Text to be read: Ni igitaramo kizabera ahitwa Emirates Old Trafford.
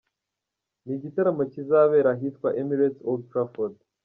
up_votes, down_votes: 3, 0